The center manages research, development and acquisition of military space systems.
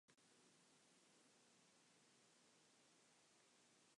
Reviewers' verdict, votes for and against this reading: rejected, 0, 2